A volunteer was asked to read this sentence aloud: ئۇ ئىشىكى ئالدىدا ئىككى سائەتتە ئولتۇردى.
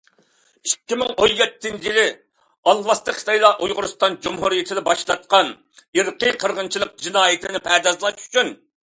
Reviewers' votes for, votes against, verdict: 0, 2, rejected